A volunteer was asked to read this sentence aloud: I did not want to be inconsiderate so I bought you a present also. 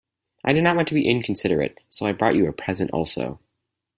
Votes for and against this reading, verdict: 2, 4, rejected